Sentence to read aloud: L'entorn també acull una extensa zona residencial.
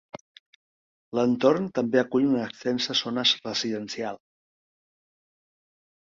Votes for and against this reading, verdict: 0, 2, rejected